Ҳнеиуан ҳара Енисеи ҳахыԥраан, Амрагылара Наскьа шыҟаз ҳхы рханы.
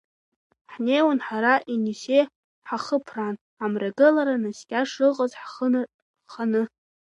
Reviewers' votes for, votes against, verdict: 1, 2, rejected